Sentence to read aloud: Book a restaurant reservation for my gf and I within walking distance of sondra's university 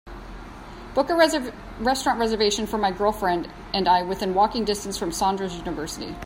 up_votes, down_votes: 0, 3